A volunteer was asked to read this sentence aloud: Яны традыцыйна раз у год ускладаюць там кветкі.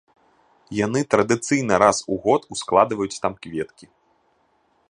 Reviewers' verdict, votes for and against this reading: rejected, 0, 2